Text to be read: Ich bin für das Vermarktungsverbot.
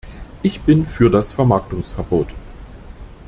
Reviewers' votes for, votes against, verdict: 2, 0, accepted